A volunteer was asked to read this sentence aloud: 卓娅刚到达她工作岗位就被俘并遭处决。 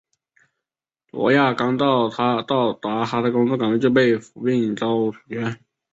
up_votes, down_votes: 2, 3